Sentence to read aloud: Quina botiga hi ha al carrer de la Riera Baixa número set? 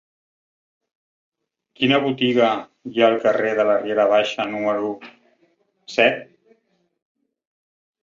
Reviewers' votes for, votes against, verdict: 2, 0, accepted